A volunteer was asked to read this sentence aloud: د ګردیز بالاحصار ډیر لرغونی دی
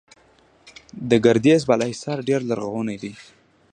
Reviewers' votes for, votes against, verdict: 2, 0, accepted